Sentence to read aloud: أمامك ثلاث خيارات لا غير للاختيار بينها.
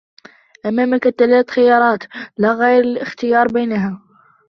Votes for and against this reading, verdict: 0, 2, rejected